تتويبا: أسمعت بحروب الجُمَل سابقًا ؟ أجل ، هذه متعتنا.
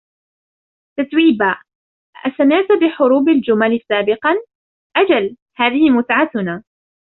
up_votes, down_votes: 2, 0